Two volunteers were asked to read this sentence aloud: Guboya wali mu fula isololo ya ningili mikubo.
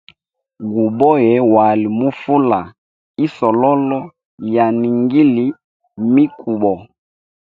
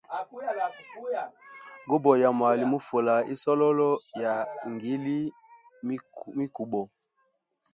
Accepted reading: first